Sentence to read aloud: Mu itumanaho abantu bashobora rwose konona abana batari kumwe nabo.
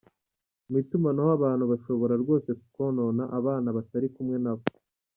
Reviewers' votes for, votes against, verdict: 2, 0, accepted